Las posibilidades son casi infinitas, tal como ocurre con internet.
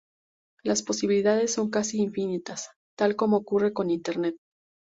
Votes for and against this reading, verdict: 2, 0, accepted